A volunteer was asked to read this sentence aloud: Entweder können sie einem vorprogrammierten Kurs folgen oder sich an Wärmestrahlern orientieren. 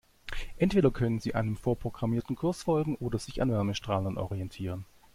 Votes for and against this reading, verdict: 2, 0, accepted